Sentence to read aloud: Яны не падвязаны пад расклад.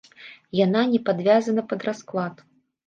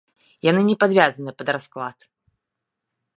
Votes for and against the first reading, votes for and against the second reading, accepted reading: 0, 3, 2, 0, second